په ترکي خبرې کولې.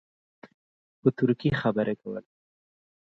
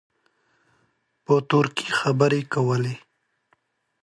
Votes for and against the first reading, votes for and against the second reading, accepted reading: 2, 4, 2, 0, second